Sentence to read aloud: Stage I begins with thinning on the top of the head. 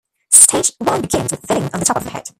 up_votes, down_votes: 1, 2